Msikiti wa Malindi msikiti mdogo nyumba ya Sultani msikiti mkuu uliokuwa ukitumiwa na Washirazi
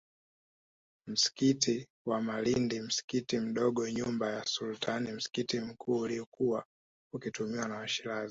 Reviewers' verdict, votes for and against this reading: accepted, 3, 0